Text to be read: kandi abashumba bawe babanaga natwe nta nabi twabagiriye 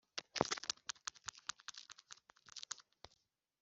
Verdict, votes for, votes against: rejected, 0, 2